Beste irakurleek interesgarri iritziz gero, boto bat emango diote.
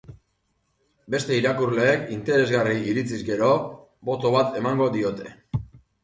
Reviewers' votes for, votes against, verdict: 2, 0, accepted